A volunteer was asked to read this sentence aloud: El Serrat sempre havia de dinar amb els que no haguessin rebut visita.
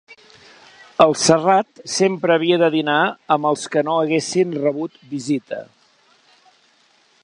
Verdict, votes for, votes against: accepted, 2, 0